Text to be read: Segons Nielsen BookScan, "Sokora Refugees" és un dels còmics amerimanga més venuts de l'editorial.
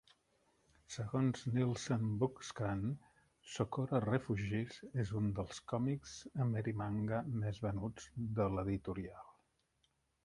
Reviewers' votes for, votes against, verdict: 1, 2, rejected